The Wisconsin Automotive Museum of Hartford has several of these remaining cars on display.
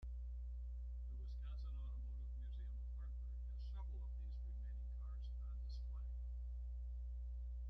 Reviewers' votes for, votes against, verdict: 0, 2, rejected